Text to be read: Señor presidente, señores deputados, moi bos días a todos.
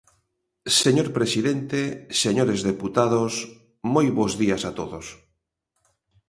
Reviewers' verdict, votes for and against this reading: accepted, 2, 0